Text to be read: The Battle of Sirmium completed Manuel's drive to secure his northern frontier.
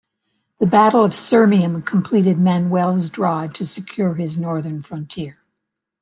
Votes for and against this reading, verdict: 3, 0, accepted